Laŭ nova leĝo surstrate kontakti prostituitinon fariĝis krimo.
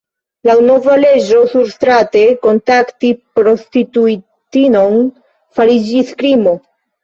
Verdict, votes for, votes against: accepted, 2, 1